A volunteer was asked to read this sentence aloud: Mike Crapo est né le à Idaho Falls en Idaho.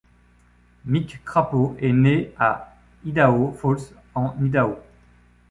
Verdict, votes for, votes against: rejected, 0, 2